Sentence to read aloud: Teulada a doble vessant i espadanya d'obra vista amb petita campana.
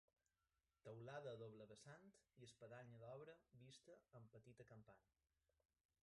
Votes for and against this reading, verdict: 0, 2, rejected